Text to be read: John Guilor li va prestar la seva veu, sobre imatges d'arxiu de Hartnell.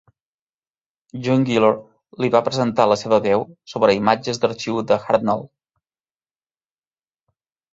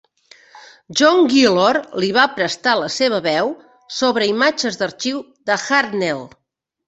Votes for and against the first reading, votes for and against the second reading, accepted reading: 1, 3, 2, 0, second